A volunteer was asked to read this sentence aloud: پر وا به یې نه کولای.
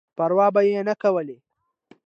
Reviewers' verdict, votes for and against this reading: accepted, 2, 0